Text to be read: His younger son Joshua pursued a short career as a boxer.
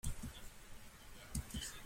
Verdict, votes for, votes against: rejected, 0, 2